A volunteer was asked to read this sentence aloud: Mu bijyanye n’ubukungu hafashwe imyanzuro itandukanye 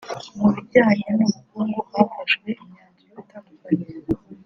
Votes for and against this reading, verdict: 3, 0, accepted